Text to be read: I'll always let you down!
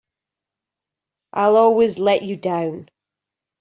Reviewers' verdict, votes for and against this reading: accepted, 3, 0